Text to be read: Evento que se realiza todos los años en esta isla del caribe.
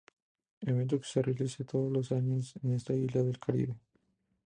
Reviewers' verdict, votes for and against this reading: accepted, 2, 0